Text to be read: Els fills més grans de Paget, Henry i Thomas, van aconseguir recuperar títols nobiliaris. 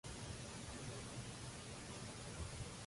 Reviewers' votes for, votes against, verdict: 0, 2, rejected